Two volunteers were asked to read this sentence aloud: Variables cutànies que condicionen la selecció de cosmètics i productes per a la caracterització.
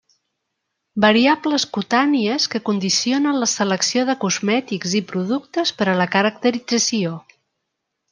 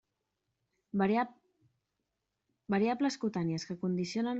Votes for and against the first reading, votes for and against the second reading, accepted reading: 3, 0, 0, 2, first